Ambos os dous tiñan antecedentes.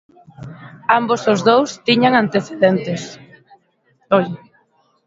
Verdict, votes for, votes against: rejected, 0, 2